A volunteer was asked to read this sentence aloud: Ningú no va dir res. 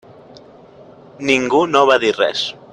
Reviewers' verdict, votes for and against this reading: accepted, 3, 0